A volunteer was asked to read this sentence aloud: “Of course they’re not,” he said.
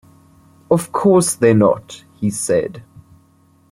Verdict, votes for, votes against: accepted, 2, 0